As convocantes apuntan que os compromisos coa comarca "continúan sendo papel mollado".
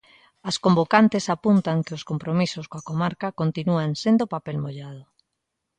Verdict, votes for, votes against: accepted, 2, 0